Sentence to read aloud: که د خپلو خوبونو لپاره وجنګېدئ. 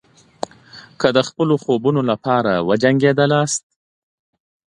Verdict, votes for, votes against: accepted, 2, 0